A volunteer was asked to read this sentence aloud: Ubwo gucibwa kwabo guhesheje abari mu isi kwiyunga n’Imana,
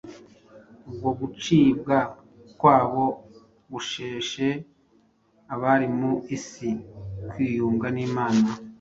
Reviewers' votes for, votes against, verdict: 1, 2, rejected